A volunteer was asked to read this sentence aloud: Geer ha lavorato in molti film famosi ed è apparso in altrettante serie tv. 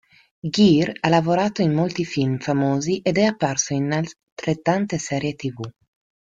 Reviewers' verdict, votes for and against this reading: rejected, 0, 2